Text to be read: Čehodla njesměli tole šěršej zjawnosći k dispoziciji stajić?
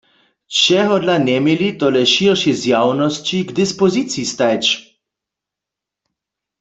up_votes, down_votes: 1, 2